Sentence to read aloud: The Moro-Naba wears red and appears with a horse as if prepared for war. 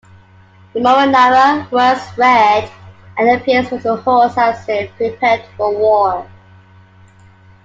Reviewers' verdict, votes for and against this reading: rejected, 1, 2